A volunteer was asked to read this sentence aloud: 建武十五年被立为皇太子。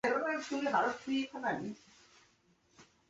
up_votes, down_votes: 0, 2